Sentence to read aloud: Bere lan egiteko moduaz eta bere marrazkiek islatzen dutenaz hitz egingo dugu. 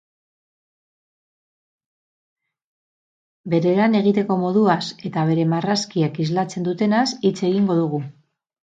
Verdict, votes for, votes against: rejected, 2, 2